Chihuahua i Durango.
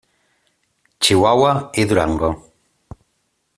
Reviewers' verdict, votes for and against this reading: accepted, 2, 0